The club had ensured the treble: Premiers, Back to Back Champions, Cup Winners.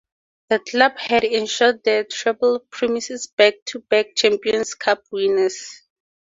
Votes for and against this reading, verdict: 2, 0, accepted